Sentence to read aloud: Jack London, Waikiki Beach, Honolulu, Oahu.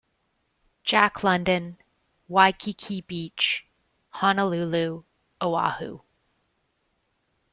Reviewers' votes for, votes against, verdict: 2, 0, accepted